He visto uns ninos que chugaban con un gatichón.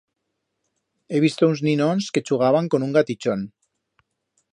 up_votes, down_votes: 1, 2